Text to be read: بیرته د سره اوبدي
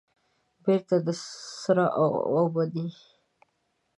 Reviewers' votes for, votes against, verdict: 0, 2, rejected